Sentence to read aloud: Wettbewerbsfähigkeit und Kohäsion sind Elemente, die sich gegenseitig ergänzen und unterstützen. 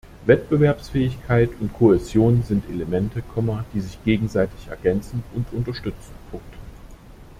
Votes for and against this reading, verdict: 0, 2, rejected